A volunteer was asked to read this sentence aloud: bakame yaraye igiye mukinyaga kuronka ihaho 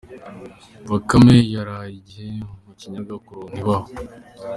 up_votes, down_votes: 0, 2